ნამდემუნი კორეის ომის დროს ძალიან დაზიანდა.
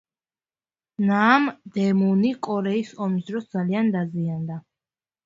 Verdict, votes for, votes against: accepted, 2, 1